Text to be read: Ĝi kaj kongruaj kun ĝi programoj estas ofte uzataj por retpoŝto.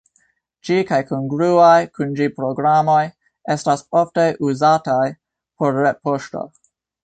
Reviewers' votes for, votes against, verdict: 2, 0, accepted